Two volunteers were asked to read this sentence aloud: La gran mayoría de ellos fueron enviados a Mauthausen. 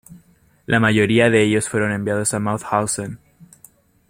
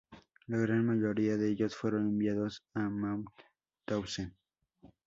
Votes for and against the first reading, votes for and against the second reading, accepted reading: 0, 2, 2, 0, second